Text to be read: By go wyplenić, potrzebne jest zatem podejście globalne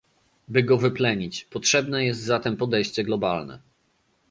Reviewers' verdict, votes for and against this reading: accepted, 2, 0